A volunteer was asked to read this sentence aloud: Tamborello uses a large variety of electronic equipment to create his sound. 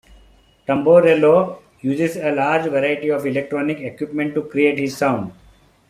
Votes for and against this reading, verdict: 2, 0, accepted